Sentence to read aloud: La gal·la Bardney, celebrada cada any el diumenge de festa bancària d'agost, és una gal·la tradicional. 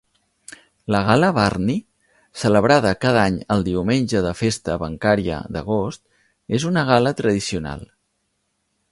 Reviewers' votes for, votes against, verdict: 4, 0, accepted